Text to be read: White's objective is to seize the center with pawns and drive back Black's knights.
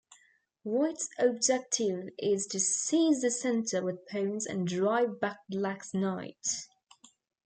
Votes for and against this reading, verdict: 2, 0, accepted